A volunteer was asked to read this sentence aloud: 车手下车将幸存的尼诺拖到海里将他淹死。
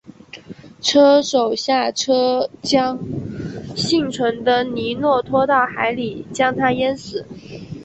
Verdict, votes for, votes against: accepted, 2, 1